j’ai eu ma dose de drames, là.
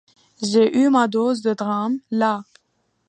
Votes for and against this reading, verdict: 2, 0, accepted